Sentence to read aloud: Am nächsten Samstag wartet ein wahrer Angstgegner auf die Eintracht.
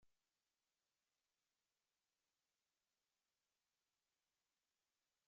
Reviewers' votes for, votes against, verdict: 0, 2, rejected